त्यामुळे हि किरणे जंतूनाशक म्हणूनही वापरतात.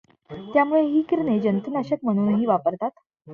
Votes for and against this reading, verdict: 2, 0, accepted